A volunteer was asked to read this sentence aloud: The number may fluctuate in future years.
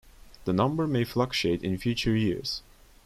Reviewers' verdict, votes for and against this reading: rejected, 1, 2